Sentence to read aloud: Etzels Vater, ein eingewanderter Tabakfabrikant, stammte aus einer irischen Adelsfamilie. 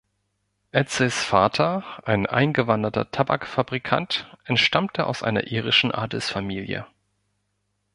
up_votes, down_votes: 1, 3